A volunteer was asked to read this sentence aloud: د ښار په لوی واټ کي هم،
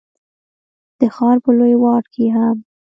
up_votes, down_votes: 2, 1